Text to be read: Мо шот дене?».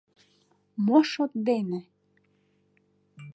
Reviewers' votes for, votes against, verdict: 2, 0, accepted